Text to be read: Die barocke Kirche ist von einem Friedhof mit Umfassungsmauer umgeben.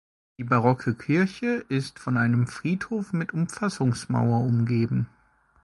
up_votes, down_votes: 2, 0